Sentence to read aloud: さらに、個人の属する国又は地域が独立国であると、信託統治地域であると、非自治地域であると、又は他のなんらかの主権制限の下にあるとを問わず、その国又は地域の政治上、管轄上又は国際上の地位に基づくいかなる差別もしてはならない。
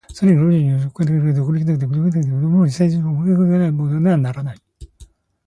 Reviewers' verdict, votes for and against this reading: accepted, 2, 1